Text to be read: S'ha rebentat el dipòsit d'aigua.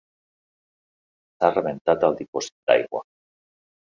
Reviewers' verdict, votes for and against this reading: accepted, 3, 1